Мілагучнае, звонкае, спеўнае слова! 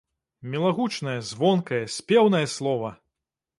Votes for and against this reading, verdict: 2, 0, accepted